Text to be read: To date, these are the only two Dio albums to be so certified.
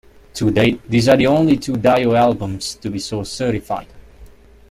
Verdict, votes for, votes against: rejected, 1, 2